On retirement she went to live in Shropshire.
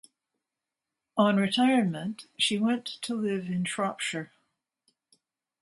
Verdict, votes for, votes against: accepted, 2, 0